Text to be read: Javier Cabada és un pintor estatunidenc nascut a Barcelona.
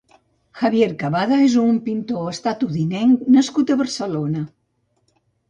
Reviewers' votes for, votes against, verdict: 1, 2, rejected